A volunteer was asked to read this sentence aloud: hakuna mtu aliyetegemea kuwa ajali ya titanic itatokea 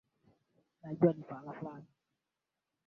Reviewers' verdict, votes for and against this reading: rejected, 0, 2